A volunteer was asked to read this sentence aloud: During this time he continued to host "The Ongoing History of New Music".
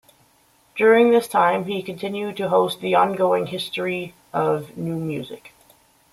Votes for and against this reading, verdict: 2, 0, accepted